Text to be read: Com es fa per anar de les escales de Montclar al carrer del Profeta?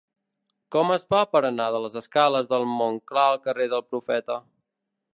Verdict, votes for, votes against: accepted, 2, 0